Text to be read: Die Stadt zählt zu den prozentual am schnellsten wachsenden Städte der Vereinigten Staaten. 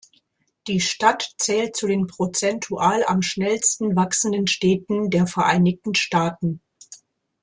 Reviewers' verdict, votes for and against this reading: rejected, 1, 2